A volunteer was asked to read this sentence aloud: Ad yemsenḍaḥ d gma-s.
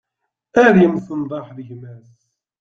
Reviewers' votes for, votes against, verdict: 2, 0, accepted